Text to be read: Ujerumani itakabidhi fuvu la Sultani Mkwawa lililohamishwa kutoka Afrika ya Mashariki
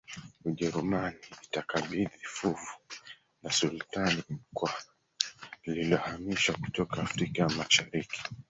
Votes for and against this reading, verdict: 1, 3, rejected